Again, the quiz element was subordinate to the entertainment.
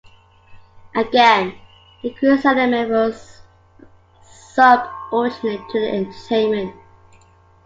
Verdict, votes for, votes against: accepted, 2, 1